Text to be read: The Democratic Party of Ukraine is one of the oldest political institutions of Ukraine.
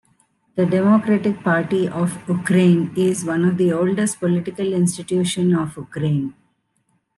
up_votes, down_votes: 2, 0